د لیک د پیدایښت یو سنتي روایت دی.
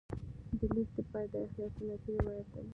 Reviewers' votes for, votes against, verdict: 0, 2, rejected